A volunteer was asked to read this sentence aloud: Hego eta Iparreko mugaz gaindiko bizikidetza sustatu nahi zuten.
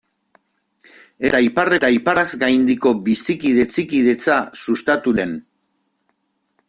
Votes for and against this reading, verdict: 0, 2, rejected